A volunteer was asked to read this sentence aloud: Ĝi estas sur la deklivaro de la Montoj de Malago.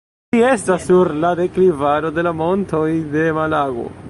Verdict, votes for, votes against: rejected, 1, 2